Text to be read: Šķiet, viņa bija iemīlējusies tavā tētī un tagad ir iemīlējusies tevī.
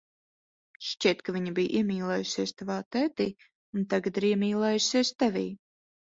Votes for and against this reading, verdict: 2, 3, rejected